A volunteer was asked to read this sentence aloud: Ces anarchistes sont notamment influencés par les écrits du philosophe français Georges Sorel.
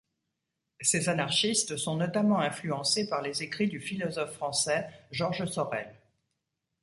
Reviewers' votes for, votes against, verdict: 2, 0, accepted